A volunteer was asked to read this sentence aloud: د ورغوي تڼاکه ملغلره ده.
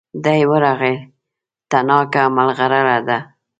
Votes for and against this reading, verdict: 0, 2, rejected